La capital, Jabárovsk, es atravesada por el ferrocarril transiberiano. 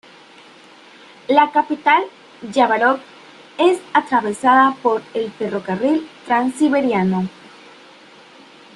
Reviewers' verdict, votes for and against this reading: rejected, 0, 2